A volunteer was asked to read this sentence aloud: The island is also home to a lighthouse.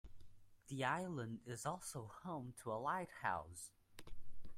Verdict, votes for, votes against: accepted, 2, 0